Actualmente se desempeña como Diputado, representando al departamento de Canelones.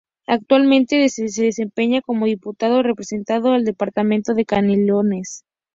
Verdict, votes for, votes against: accepted, 2, 0